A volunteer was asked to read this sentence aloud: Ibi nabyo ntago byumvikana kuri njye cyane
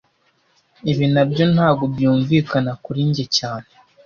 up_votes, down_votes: 2, 0